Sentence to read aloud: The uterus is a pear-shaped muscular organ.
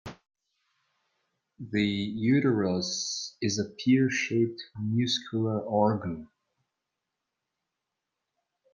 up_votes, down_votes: 0, 2